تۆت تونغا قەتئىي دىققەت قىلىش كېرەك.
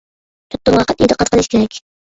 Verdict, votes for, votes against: rejected, 0, 2